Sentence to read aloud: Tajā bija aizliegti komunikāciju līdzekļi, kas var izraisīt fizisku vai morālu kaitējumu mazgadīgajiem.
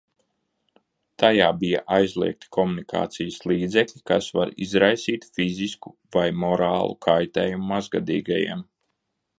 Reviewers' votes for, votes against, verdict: 0, 2, rejected